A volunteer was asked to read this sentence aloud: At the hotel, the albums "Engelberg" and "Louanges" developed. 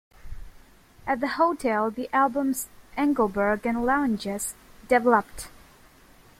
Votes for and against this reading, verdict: 0, 2, rejected